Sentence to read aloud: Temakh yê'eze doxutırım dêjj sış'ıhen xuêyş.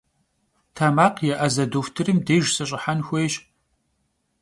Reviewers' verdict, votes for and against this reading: accepted, 2, 0